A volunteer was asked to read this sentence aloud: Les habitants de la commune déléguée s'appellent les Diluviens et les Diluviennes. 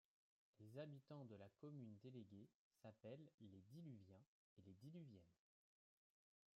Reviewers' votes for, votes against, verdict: 2, 1, accepted